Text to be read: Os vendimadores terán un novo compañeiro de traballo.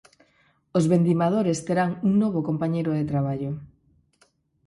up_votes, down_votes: 4, 2